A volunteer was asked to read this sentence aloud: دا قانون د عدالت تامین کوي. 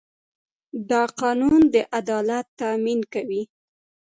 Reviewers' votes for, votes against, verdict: 2, 1, accepted